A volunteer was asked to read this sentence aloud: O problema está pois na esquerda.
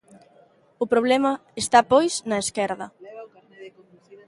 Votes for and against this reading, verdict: 2, 0, accepted